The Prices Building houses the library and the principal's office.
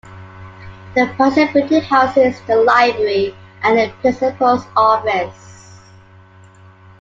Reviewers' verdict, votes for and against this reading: rejected, 0, 2